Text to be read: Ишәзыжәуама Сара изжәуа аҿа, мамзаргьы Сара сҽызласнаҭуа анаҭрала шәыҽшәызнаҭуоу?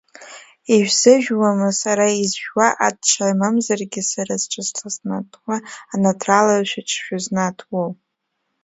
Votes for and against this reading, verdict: 0, 2, rejected